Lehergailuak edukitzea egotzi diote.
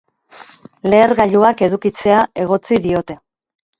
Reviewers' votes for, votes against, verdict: 4, 0, accepted